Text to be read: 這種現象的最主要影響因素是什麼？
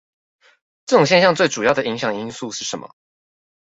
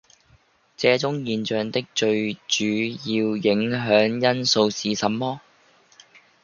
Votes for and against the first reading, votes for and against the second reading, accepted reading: 2, 0, 0, 2, first